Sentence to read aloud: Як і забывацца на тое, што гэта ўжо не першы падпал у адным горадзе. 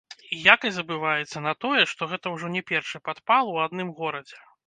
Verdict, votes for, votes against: rejected, 1, 2